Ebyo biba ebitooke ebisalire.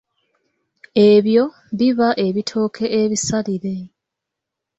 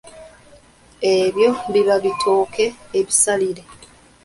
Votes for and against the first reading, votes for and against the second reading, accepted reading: 3, 0, 0, 2, first